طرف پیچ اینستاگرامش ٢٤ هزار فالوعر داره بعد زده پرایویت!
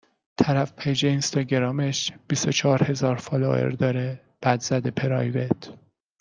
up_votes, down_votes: 0, 2